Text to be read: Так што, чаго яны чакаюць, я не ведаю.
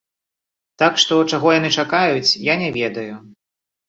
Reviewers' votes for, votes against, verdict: 2, 0, accepted